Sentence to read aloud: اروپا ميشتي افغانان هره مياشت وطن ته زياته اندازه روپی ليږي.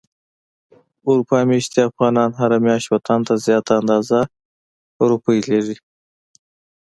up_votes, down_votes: 2, 0